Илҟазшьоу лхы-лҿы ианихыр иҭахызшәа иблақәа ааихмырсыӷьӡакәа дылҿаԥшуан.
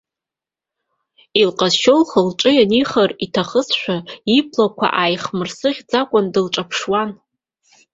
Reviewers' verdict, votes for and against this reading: rejected, 1, 2